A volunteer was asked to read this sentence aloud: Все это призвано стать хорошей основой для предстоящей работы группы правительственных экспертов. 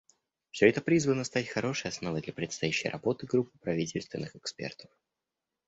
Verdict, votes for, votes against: rejected, 0, 2